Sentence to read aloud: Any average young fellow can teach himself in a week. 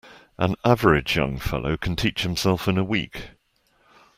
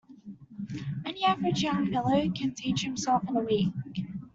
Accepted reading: second